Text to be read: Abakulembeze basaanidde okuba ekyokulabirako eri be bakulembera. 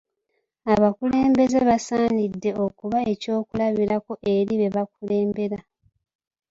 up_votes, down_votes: 1, 2